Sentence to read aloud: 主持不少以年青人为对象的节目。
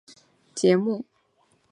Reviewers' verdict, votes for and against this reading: rejected, 0, 2